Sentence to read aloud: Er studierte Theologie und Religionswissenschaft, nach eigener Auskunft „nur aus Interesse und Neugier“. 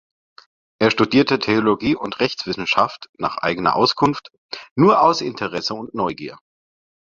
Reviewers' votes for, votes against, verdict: 0, 2, rejected